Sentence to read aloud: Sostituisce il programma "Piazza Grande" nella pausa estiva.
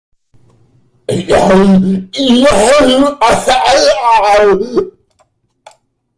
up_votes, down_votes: 0, 2